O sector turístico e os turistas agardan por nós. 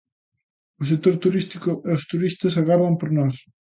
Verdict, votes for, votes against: accepted, 2, 0